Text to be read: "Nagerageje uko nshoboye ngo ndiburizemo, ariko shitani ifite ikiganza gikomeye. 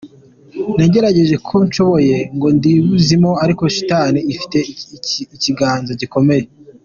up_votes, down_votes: 2, 0